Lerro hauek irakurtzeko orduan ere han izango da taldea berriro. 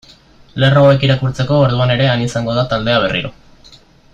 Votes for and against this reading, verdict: 2, 1, accepted